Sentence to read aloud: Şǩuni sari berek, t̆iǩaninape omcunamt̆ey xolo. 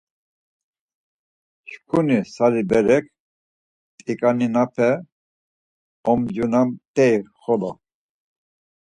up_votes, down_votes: 4, 2